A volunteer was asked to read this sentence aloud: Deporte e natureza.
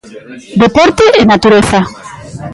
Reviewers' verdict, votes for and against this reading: accepted, 2, 0